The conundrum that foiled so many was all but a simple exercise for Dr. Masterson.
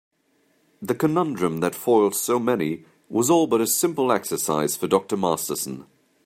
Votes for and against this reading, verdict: 2, 0, accepted